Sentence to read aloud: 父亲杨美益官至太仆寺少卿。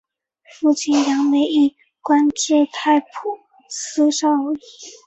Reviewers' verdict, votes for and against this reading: rejected, 0, 2